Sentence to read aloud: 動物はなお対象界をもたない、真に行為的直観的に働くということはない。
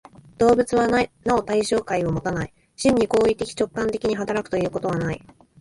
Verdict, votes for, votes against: accepted, 2, 1